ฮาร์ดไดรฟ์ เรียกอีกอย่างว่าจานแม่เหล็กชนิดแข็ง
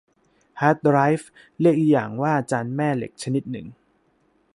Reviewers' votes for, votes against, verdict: 0, 2, rejected